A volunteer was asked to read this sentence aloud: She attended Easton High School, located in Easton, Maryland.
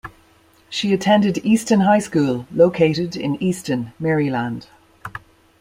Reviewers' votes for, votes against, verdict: 2, 0, accepted